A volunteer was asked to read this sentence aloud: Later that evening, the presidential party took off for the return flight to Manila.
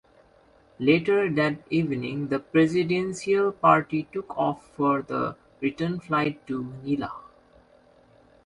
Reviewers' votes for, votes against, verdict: 0, 2, rejected